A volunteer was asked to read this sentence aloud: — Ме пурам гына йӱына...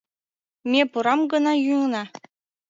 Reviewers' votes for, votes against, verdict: 2, 0, accepted